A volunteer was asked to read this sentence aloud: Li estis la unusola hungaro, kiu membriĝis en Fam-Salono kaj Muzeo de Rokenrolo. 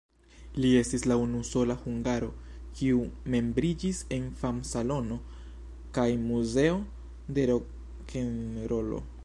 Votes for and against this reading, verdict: 1, 2, rejected